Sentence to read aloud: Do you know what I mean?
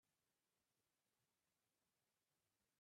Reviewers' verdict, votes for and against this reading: rejected, 0, 3